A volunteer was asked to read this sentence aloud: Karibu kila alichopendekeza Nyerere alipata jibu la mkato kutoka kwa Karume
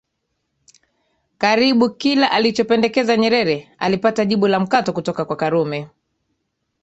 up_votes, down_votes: 2, 0